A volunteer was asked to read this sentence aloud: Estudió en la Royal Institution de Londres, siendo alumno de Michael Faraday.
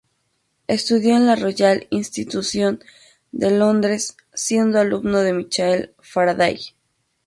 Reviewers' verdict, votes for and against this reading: rejected, 0, 2